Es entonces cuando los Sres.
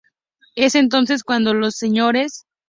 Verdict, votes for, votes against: accepted, 2, 0